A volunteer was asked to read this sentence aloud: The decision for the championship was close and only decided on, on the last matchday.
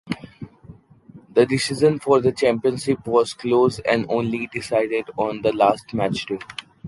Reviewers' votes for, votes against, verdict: 0, 2, rejected